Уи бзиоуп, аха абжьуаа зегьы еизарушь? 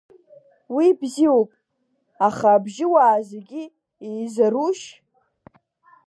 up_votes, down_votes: 2, 0